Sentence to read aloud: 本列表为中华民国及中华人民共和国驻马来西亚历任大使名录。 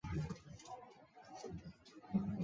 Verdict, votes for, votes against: rejected, 2, 4